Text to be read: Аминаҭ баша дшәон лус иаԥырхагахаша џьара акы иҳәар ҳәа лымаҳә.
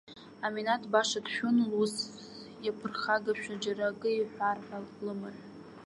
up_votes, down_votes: 0, 2